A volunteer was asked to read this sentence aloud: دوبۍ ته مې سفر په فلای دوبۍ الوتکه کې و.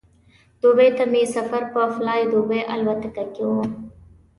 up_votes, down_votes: 2, 1